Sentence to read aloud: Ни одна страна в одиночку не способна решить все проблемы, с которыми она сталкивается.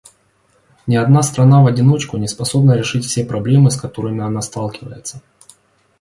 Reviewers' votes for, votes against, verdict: 2, 0, accepted